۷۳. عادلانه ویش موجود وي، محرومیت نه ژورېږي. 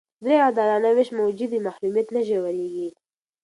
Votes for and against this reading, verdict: 0, 2, rejected